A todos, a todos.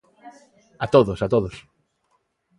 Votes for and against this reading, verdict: 2, 0, accepted